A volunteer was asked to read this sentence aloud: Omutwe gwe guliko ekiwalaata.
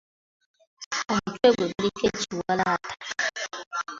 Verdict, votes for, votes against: accepted, 2, 1